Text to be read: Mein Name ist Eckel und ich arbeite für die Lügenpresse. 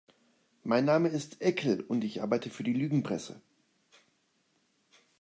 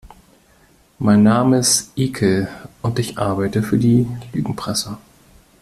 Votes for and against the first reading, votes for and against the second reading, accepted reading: 2, 0, 1, 2, first